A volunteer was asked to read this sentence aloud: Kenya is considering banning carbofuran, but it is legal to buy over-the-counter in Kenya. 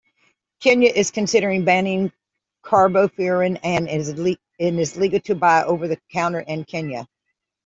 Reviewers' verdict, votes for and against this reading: rejected, 1, 2